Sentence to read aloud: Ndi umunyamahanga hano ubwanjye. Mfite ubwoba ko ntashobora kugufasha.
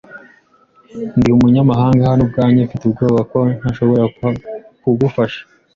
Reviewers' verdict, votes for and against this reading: accepted, 2, 1